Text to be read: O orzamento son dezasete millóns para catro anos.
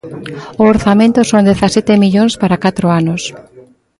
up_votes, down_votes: 2, 0